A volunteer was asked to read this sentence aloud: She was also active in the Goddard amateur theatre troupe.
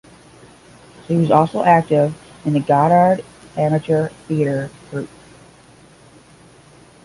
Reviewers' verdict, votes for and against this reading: rejected, 5, 10